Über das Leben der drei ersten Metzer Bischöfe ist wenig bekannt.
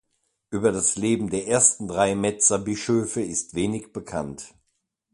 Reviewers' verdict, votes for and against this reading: rejected, 0, 2